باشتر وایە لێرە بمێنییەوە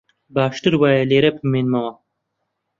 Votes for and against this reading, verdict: 0, 2, rejected